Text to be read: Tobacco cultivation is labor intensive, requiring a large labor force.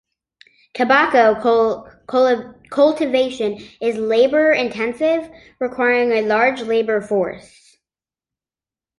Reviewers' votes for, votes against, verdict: 1, 2, rejected